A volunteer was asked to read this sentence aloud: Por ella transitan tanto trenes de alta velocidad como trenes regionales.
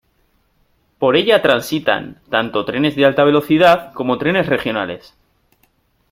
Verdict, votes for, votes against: accepted, 2, 0